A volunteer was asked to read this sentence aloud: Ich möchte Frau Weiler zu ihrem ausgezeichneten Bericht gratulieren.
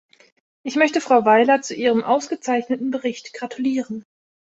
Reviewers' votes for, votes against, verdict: 2, 0, accepted